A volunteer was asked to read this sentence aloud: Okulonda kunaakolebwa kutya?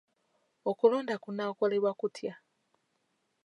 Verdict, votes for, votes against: accepted, 2, 0